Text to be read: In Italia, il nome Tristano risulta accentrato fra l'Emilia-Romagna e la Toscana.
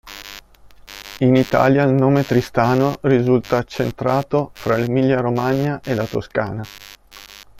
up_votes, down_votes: 3, 1